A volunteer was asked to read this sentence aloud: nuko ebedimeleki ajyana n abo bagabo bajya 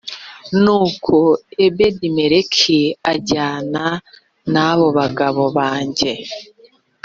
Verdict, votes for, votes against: rejected, 1, 2